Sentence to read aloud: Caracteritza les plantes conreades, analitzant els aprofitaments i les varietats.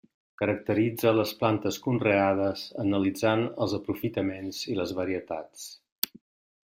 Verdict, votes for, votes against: accepted, 3, 0